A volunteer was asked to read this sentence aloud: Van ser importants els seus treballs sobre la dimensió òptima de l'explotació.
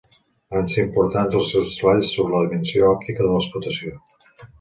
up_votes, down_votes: 2, 3